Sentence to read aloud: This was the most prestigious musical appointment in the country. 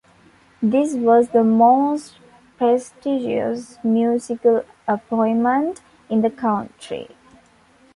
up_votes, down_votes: 2, 0